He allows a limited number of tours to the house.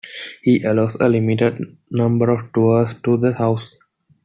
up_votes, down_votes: 2, 0